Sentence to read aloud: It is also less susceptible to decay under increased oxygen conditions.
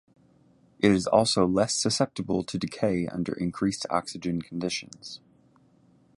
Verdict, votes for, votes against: accepted, 3, 0